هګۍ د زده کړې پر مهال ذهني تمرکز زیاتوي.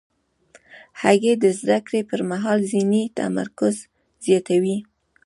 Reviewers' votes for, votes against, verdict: 2, 0, accepted